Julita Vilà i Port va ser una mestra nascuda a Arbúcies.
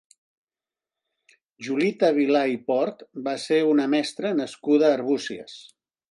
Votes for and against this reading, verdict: 2, 0, accepted